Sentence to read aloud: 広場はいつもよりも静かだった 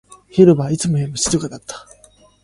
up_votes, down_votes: 2, 0